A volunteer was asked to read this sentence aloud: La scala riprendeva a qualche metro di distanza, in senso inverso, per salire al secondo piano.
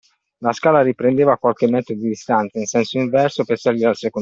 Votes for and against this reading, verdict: 0, 2, rejected